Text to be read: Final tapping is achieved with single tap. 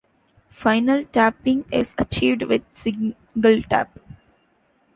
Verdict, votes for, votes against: rejected, 1, 2